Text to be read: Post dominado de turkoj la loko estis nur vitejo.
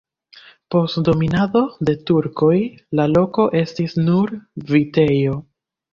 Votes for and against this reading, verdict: 2, 0, accepted